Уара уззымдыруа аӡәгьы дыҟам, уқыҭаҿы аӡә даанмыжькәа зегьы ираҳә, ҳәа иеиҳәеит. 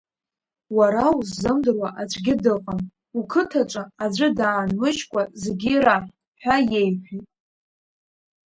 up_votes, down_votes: 1, 2